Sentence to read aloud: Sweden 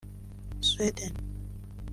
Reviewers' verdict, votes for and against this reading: rejected, 0, 2